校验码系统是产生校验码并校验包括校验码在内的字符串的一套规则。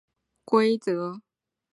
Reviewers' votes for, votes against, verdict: 0, 3, rejected